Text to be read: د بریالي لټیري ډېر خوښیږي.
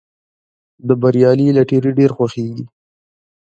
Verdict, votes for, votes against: accepted, 2, 1